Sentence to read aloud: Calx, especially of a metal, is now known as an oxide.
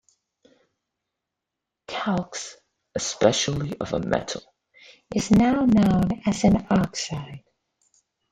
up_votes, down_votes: 2, 0